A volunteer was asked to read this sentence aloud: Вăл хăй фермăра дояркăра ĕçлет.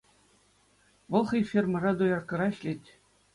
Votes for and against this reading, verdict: 2, 0, accepted